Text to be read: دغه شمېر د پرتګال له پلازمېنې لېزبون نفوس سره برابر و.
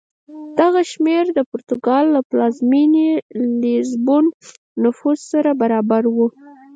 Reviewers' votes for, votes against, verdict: 4, 0, accepted